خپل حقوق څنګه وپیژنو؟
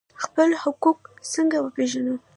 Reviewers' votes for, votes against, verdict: 1, 2, rejected